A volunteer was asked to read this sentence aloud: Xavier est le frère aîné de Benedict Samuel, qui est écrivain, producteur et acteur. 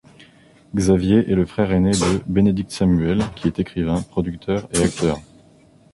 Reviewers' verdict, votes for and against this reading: accepted, 2, 0